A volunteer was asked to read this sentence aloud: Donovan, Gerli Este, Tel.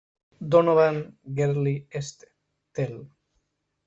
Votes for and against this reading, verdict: 0, 2, rejected